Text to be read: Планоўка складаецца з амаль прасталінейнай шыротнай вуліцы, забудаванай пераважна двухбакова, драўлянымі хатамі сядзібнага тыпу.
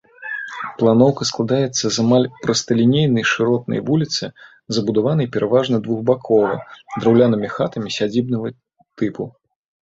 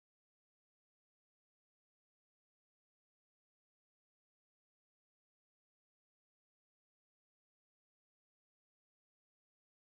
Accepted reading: first